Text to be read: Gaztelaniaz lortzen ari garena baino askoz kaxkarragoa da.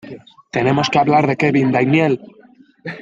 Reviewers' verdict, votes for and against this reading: rejected, 0, 2